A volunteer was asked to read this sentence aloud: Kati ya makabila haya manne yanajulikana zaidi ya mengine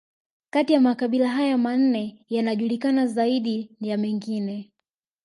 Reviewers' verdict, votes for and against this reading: accepted, 2, 0